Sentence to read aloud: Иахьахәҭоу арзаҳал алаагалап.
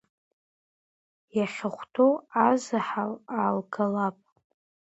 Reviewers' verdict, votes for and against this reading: rejected, 0, 2